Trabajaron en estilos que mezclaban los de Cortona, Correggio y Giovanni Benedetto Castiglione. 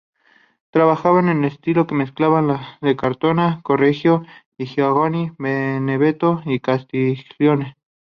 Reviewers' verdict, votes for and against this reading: rejected, 0, 2